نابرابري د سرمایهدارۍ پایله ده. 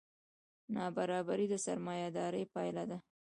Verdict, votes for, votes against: accepted, 2, 1